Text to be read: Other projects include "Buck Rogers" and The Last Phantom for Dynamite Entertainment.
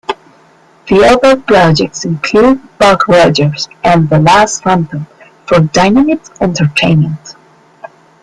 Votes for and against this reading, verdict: 2, 1, accepted